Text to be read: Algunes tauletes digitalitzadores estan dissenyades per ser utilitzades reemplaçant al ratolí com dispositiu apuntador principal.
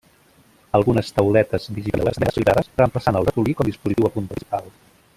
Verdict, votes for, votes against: rejected, 0, 2